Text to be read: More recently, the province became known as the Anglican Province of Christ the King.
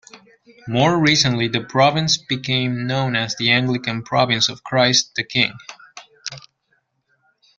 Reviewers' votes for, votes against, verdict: 2, 0, accepted